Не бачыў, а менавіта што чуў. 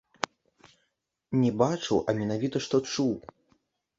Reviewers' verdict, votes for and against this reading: rejected, 1, 2